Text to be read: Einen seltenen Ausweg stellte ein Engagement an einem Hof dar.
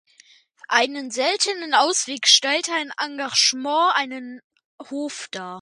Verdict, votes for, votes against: rejected, 0, 2